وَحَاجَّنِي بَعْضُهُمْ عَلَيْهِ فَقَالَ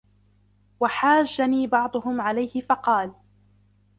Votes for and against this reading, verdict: 2, 0, accepted